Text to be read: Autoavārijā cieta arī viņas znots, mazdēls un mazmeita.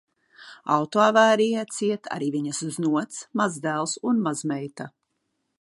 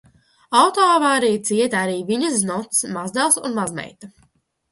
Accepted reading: first